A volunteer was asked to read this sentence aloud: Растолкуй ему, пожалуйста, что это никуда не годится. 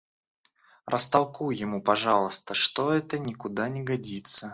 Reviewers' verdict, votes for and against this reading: rejected, 1, 2